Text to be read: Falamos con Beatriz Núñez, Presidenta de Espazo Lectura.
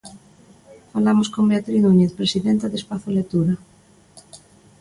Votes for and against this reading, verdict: 2, 0, accepted